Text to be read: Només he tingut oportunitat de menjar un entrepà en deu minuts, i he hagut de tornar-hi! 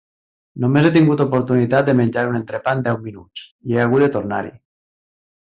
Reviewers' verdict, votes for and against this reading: accepted, 3, 0